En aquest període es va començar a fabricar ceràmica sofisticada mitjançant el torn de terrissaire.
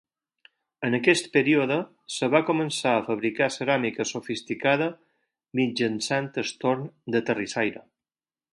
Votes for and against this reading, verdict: 0, 4, rejected